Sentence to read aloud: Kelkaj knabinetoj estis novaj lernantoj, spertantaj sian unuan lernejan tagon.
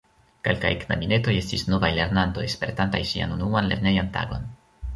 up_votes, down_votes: 2, 0